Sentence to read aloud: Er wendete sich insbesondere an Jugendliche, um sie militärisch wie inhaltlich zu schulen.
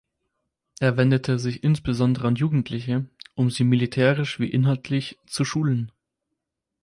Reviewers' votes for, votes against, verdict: 4, 0, accepted